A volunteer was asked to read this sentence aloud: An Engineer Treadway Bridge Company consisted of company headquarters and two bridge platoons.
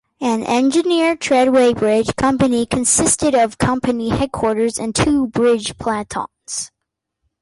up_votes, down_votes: 0, 2